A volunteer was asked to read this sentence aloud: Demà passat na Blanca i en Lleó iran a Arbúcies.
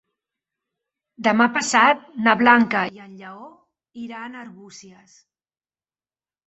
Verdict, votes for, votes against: accepted, 4, 0